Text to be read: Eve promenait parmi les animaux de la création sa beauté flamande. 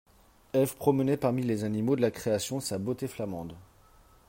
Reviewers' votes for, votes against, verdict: 3, 0, accepted